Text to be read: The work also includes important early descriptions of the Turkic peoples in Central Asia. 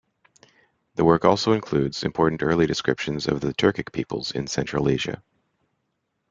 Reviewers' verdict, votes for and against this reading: accepted, 2, 0